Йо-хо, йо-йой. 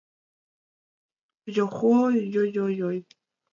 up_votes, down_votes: 0, 2